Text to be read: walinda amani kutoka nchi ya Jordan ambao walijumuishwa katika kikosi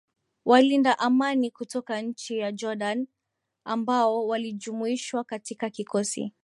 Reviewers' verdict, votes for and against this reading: accepted, 2, 0